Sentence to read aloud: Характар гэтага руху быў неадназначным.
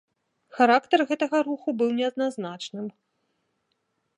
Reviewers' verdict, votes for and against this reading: accepted, 2, 0